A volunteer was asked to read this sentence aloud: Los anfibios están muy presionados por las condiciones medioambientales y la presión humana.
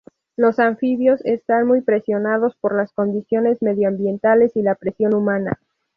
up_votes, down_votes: 2, 0